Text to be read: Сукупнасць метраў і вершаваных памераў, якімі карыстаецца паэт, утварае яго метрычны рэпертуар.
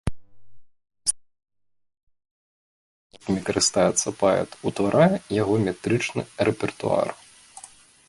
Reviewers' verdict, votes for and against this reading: rejected, 0, 2